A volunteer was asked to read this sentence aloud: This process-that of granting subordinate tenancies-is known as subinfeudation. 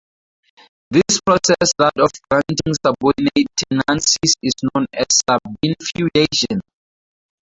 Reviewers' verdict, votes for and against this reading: accepted, 2, 0